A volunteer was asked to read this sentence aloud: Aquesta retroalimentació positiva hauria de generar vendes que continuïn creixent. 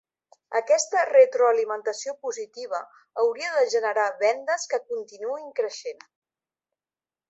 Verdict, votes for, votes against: accepted, 3, 0